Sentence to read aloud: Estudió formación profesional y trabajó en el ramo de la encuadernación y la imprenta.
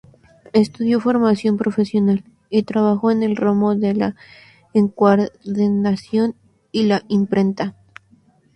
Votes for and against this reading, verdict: 0, 2, rejected